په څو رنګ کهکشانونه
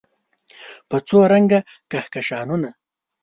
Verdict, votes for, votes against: rejected, 0, 2